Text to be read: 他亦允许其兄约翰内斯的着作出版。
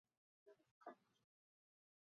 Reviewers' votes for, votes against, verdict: 3, 4, rejected